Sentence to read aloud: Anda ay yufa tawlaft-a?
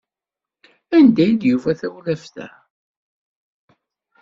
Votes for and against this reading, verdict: 1, 2, rejected